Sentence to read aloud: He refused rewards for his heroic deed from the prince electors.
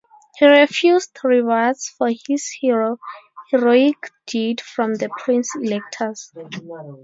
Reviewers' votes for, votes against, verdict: 0, 2, rejected